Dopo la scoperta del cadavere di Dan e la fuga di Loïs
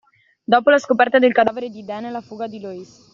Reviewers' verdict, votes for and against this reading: accepted, 2, 0